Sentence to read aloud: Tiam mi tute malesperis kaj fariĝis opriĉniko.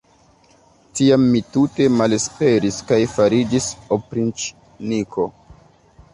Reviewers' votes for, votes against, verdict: 0, 2, rejected